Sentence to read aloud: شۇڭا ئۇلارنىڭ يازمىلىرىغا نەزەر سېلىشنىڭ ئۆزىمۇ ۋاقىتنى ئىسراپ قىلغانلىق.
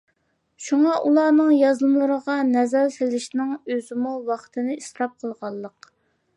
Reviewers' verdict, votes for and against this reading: accepted, 2, 1